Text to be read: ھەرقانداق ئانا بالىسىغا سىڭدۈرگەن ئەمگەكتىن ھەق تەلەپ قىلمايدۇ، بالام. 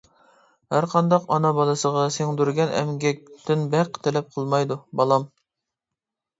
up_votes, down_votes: 1, 2